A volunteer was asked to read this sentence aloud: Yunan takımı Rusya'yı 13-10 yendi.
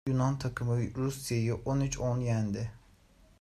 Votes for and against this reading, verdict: 0, 2, rejected